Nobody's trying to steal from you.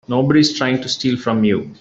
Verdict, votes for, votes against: accepted, 3, 0